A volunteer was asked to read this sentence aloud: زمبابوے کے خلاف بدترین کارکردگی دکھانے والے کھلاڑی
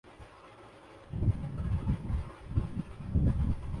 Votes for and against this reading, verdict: 0, 2, rejected